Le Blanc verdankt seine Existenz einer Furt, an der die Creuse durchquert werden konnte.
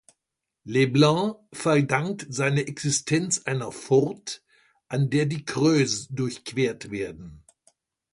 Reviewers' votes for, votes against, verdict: 1, 2, rejected